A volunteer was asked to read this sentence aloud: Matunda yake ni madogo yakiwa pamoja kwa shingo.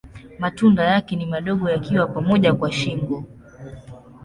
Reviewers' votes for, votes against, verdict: 2, 0, accepted